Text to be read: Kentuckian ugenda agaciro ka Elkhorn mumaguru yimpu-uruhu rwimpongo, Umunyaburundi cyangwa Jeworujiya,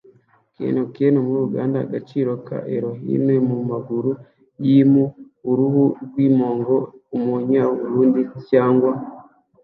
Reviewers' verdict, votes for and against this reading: rejected, 0, 2